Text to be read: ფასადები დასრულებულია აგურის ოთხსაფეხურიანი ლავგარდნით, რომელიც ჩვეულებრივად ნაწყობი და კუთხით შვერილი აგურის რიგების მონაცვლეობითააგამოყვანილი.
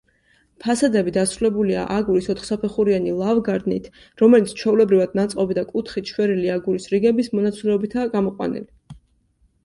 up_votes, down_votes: 2, 0